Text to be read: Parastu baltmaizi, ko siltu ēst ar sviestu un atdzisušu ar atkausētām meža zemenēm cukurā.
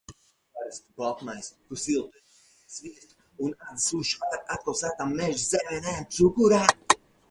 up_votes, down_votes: 0, 4